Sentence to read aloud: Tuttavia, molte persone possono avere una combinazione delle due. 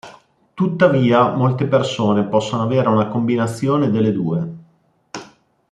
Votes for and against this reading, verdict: 2, 0, accepted